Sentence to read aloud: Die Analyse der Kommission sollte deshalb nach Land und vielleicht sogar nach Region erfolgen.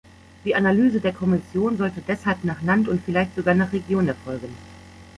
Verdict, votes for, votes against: accepted, 2, 0